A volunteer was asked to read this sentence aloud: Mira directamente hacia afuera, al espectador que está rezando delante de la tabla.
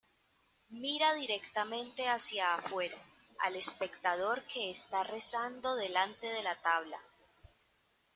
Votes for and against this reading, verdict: 2, 0, accepted